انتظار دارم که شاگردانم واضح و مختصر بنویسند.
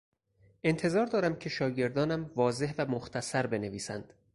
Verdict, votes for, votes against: accepted, 4, 0